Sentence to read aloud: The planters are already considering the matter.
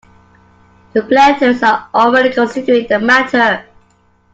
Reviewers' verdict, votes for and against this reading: accepted, 2, 0